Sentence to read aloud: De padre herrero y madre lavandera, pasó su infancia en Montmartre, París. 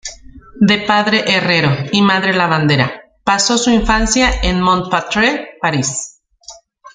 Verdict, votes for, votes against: rejected, 1, 2